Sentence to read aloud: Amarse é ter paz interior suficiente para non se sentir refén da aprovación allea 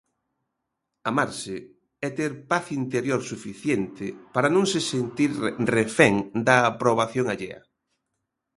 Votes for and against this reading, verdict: 1, 2, rejected